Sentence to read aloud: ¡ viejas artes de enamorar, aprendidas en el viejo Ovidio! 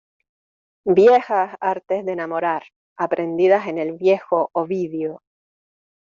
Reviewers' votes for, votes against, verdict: 2, 0, accepted